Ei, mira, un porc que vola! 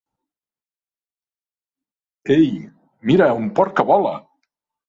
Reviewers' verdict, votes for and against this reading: accepted, 2, 0